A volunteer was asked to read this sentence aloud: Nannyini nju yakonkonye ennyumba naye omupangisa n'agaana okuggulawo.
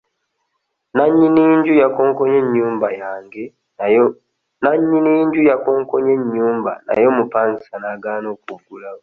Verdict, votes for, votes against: rejected, 1, 2